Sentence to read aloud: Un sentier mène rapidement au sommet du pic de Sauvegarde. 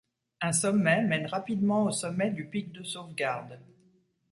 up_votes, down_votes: 0, 2